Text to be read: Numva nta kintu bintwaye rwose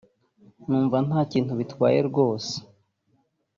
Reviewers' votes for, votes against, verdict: 1, 2, rejected